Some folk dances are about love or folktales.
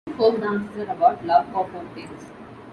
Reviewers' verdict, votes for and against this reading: rejected, 1, 2